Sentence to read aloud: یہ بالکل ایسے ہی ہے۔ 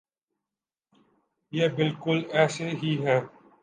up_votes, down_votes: 3, 0